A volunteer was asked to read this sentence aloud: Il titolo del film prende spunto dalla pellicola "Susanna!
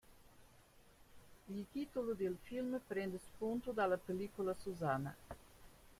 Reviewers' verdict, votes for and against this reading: rejected, 0, 2